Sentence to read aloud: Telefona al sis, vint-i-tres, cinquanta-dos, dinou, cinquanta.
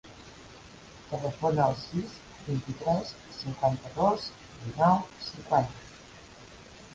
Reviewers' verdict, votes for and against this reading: accepted, 2, 1